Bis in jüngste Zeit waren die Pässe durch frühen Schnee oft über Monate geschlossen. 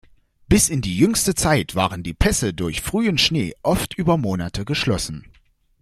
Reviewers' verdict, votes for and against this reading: accepted, 2, 0